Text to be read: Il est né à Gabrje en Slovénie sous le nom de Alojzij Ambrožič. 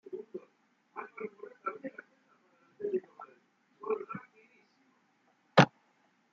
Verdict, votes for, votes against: rejected, 0, 2